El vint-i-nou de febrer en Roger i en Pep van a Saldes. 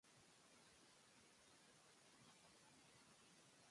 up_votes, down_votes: 0, 2